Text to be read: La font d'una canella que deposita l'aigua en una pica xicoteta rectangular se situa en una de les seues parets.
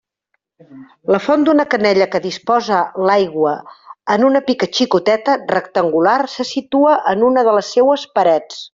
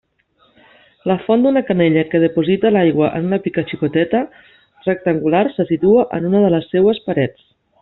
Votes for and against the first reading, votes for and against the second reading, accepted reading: 0, 2, 2, 0, second